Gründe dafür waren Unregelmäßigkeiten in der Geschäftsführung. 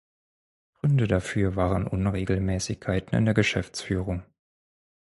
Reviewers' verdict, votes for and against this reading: rejected, 2, 4